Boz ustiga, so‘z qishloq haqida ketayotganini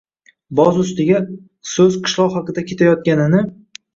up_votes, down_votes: 1, 2